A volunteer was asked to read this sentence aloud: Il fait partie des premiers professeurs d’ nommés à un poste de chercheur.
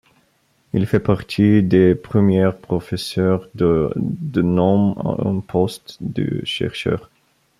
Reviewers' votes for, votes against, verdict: 0, 2, rejected